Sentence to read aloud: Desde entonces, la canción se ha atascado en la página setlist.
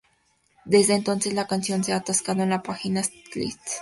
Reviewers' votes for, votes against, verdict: 0, 2, rejected